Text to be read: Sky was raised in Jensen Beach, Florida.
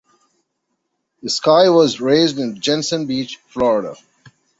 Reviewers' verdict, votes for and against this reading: rejected, 0, 2